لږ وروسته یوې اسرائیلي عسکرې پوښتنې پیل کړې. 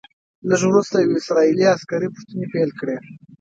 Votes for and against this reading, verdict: 1, 2, rejected